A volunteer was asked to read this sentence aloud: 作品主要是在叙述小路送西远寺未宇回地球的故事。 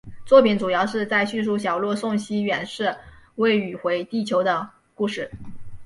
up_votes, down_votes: 2, 0